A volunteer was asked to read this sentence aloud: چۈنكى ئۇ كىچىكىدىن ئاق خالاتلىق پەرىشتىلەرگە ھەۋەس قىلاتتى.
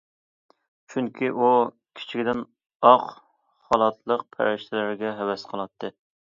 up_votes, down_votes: 2, 0